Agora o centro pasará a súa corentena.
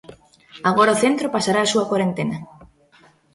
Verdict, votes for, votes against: rejected, 0, 2